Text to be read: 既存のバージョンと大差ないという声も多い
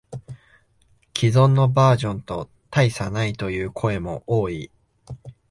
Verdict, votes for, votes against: accepted, 2, 0